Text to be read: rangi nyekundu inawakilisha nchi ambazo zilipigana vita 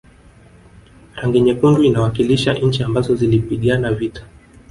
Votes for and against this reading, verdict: 2, 0, accepted